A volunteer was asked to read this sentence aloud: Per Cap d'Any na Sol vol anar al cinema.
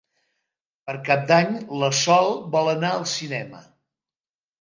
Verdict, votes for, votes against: rejected, 0, 2